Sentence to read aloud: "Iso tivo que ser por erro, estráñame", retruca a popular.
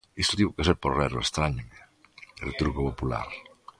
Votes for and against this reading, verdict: 2, 1, accepted